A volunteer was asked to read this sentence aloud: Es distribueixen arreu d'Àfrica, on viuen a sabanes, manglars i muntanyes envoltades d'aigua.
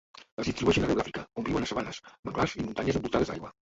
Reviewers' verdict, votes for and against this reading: rejected, 1, 2